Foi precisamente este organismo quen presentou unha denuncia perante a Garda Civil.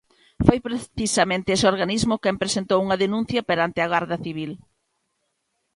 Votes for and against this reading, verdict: 0, 2, rejected